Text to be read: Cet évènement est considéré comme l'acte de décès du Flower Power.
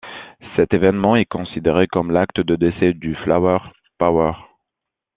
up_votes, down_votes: 2, 0